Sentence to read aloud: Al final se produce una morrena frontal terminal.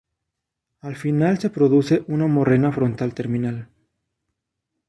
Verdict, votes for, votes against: accepted, 2, 0